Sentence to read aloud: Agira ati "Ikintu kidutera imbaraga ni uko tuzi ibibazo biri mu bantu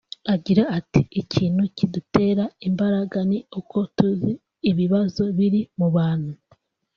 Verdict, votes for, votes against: accepted, 2, 0